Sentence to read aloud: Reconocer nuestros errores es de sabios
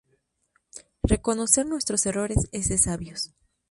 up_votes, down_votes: 2, 2